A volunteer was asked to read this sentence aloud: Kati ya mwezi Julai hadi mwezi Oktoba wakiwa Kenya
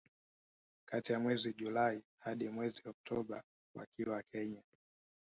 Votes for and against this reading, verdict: 1, 2, rejected